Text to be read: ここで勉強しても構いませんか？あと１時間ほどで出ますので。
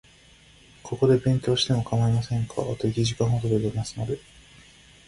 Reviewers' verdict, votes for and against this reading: rejected, 0, 2